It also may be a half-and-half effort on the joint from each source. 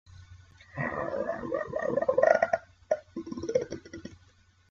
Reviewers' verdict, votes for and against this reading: rejected, 0, 2